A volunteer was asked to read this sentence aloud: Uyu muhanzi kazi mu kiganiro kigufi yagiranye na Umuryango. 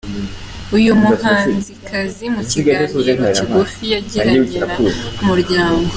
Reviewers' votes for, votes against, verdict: 2, 0, accepted